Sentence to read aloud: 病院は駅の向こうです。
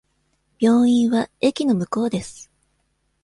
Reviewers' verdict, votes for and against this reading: accepted, 2, 0